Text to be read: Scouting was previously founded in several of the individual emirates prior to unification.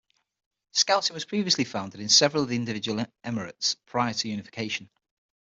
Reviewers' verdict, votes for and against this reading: rejected, 0, 6